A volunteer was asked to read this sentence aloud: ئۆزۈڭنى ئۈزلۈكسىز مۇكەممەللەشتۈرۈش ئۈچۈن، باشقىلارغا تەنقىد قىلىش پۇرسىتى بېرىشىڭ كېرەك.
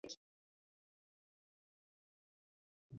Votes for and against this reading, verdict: 0, 2, rejected